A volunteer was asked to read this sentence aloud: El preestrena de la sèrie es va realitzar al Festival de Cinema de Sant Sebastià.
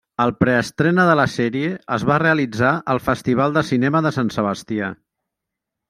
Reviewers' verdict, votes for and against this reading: accepted, 3, 0